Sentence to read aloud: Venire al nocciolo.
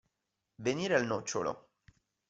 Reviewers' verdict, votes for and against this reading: accepted, 2, 0